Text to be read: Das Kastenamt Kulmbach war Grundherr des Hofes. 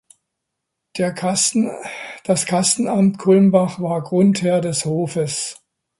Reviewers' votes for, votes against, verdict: 0, 2, rejected